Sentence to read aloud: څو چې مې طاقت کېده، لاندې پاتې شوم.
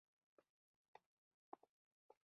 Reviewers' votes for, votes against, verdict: 1, 2, rejected